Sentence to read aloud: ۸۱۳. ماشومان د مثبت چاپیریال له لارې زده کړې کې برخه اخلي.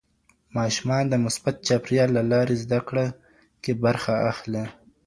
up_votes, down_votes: 0, 2